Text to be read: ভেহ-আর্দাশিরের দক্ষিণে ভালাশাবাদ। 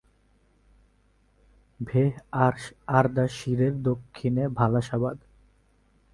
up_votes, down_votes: 4, 6